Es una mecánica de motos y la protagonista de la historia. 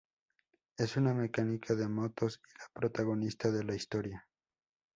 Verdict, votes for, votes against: rejected, 2, 2